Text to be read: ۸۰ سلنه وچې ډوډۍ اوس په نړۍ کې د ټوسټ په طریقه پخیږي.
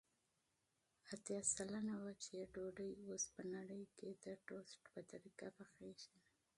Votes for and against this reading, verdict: 0, 2, rejected